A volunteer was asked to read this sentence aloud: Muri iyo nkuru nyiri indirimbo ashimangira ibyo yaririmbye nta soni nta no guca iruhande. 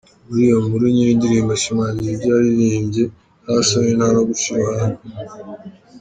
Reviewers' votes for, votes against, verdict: 2, 0, accepted